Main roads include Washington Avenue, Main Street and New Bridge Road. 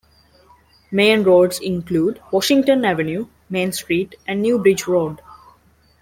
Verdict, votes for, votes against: accepted, 2, 0